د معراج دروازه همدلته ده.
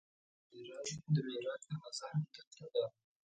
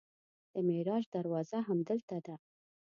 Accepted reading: second